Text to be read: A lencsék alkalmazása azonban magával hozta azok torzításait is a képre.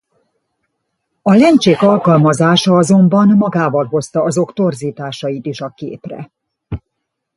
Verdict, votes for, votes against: rejected, 1, 2